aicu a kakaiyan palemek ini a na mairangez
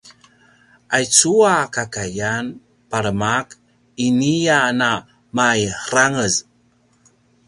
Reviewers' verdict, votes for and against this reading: rejected, 0, 2